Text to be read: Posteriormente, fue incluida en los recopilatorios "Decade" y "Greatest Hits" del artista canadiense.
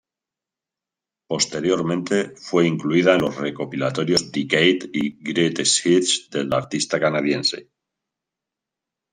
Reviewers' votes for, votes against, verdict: 2, 0, accepted